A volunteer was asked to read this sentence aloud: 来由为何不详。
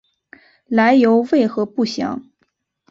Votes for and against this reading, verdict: 3, 1, accepted